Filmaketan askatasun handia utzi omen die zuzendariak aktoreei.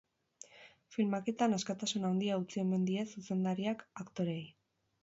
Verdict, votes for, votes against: accepted, 4, 0